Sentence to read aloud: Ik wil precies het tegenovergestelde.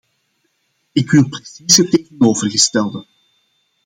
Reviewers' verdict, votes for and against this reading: rejected, 0, 2